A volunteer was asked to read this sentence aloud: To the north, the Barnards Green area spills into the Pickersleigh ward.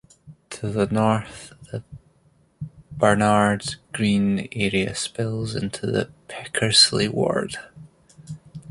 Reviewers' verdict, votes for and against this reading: rejected, 0, 2